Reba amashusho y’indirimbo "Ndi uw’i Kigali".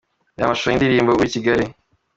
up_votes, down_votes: 2, 1